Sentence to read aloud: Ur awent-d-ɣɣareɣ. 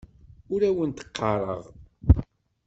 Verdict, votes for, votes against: rejected, 1, 2